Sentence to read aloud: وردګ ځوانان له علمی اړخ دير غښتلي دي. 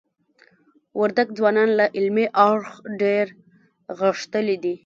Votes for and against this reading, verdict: 1, 2, rejected